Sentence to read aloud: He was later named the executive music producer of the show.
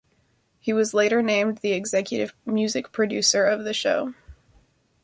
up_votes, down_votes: 2, 0